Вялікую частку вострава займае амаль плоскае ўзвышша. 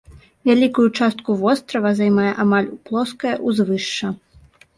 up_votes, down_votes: 2, 0